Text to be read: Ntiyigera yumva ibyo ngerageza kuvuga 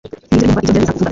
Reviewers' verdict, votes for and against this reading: rejected, 1, 2